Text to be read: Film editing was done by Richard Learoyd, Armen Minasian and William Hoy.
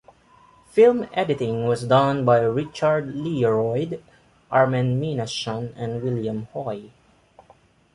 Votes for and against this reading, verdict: 1, 2, rejected